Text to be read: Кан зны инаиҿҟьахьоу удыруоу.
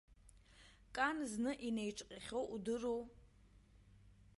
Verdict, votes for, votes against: accepted, 2, 0